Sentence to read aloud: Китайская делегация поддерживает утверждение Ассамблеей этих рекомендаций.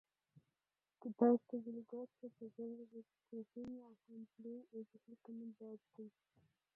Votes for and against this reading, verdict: 0, 2, rejected